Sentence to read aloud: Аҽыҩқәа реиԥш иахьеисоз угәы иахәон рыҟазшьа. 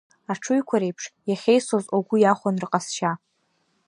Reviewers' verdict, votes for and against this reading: accepted, 2, 0